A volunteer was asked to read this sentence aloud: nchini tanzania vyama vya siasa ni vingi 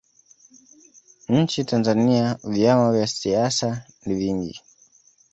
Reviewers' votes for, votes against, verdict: 0, 2, rejected